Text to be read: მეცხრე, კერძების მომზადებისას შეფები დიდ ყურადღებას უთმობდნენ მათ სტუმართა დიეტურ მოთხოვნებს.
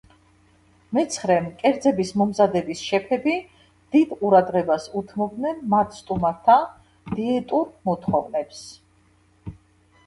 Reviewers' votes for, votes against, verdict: 1, 2, rejected